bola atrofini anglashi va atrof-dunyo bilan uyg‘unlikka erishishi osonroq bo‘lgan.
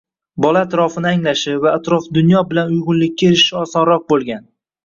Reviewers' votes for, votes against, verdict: 0, 2, rejected